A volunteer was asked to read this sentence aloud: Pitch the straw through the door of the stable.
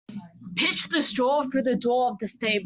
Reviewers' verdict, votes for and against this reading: rejected, 1, 2